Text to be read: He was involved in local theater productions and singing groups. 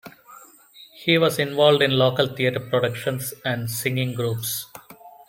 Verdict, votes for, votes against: accepted, 2, 0